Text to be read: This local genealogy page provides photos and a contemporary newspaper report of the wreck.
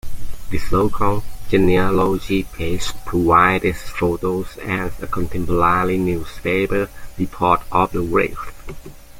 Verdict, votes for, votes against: rejected, 0, 2